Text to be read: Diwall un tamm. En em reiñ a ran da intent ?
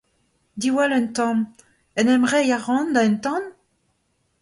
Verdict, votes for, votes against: rejected, 0, 2